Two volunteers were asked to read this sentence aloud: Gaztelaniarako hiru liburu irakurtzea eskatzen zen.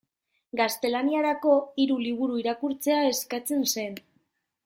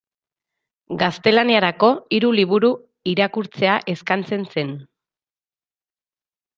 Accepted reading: first